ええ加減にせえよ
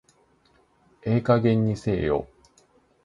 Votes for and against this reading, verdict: 2, 0, accepted